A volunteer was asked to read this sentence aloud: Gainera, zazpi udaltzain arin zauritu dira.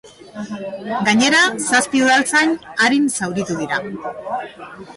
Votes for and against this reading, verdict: 1, 2, rejected